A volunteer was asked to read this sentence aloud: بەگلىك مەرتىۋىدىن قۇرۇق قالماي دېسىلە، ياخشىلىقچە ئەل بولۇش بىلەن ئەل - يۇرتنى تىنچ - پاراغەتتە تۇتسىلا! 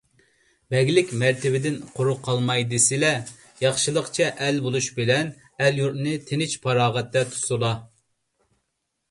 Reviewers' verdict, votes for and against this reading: accepted, 2, 0